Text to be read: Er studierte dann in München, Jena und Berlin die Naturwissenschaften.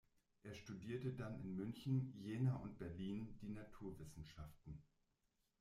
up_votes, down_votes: 1, 2